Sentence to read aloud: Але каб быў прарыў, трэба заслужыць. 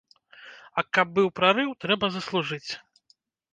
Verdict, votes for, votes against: rejected, 1, 2